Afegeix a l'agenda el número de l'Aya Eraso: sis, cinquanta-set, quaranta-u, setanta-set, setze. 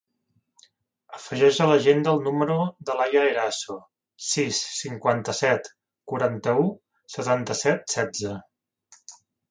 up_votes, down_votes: 1, 2